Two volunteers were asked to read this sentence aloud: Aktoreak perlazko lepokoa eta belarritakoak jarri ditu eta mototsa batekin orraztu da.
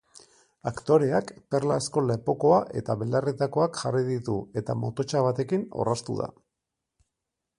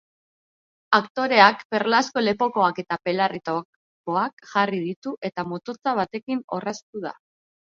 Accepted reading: first